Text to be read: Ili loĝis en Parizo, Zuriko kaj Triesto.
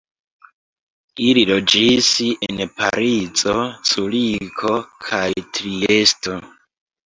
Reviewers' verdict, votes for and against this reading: rejected, 1, 2